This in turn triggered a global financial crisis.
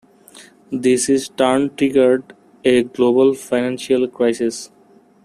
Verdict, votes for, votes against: rejected, 0, 2